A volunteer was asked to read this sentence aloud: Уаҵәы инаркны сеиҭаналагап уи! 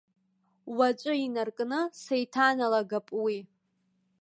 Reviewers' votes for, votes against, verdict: 1, 2, rejected